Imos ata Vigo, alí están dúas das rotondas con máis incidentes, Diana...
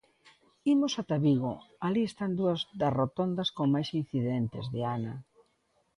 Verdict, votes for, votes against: accepted, 2, 0